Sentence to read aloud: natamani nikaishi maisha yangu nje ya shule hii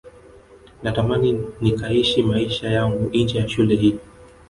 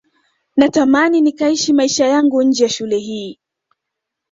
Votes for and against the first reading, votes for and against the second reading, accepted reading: 1, 2, 2, 1, second